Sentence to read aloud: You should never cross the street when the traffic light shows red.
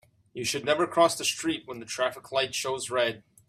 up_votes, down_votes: 2, 0